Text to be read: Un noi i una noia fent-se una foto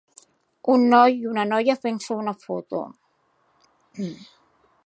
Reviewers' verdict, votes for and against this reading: accepted, 2, 0